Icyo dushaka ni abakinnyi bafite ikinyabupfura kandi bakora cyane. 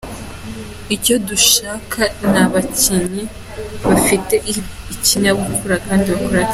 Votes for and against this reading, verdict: 2, 1, accepted